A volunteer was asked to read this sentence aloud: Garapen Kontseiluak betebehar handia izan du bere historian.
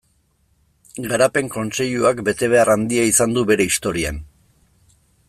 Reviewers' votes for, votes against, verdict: 2, 0, accepted